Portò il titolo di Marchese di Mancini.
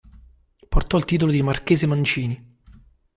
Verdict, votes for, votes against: rejected, 1, 2